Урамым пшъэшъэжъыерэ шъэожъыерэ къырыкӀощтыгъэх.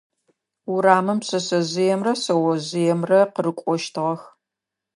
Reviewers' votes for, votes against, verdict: 0, 2, rejected